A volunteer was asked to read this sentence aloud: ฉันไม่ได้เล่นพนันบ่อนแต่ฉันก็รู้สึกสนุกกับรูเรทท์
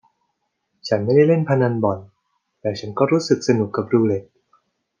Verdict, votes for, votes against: accepted, 2, 0